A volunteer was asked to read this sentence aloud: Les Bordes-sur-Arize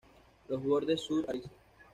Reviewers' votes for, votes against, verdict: 1, 2, rejected